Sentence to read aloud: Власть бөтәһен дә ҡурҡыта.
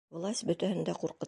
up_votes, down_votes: 1, 2